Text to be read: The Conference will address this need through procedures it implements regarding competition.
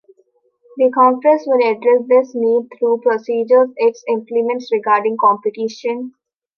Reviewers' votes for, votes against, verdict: 0, 2, rejected